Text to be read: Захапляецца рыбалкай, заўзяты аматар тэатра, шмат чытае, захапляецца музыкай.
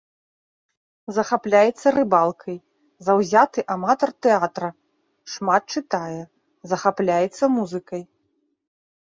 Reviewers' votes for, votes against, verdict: 2, 0, accepted